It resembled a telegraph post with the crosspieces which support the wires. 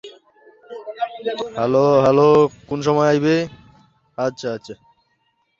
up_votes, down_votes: 0, 2